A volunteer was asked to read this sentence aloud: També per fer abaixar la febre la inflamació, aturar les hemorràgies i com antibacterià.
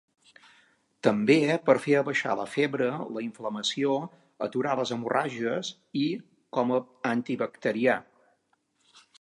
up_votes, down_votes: 1, 2